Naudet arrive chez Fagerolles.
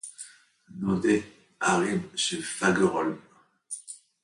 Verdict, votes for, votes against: rejected, 0, 2